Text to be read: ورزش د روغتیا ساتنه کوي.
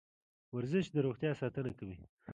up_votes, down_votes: 2, 0